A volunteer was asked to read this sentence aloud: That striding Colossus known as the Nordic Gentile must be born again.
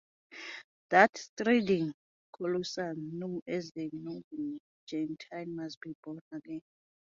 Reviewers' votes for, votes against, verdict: 0, 2, rejected